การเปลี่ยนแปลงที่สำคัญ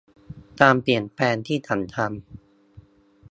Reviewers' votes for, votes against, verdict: 0, 2, rejected